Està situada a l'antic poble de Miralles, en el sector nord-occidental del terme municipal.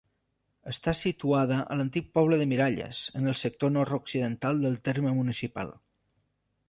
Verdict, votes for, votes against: accepted, 3, 0